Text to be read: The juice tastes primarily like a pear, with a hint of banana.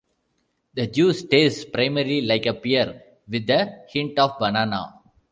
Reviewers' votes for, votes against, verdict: 2, 0, accepted